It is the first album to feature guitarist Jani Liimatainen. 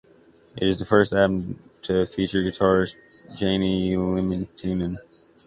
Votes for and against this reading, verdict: 0, 2, rejected